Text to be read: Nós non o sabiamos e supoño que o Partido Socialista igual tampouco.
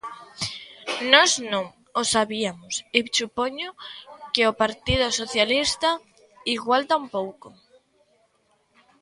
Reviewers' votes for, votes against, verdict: 0, 2, rejected